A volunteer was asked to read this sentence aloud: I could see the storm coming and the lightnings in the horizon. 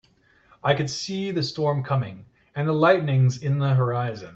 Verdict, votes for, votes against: accepted, 2, 1